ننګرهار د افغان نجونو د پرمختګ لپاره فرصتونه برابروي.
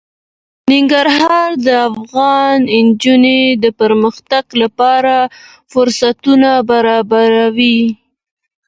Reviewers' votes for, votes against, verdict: 2, 0, accepted